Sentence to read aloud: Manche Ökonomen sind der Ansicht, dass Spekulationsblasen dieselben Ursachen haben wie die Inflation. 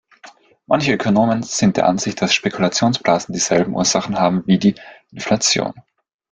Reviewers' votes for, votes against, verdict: 1, 2, rejected